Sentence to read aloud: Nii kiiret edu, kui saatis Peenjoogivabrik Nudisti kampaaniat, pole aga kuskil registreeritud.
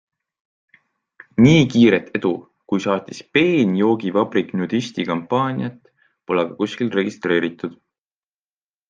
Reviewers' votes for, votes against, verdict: 2, 0, accepted